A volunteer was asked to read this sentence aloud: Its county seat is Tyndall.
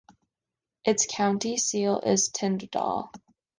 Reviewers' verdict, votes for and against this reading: rejected, 0, 2